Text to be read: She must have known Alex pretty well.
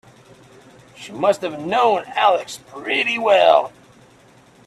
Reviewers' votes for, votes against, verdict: 0, 2, rejected